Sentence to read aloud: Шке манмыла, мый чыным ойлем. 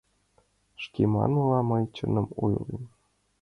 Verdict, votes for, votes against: accepted, 2, 1